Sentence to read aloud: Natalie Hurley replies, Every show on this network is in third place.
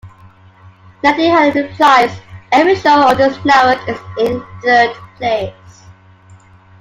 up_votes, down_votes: 2, 0